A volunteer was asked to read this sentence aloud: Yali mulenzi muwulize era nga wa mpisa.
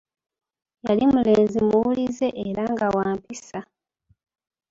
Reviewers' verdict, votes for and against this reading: accepted, 2, 1